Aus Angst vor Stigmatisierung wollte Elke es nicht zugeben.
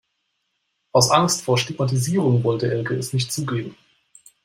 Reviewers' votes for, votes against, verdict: 1, 3, rejected